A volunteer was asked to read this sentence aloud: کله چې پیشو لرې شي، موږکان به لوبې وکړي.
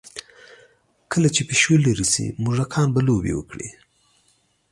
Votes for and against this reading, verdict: 2, 0, accepted